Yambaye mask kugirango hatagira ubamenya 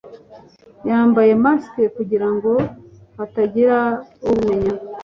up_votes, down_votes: 2, 0